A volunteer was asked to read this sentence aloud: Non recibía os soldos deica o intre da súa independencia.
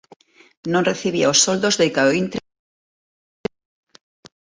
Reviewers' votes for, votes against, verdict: 0, 2, rejected